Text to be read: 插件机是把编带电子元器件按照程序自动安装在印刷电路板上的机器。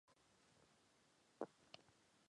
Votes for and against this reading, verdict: 0, 5, rejected